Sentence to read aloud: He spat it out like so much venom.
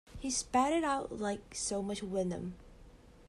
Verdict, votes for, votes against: rejected, 1, 2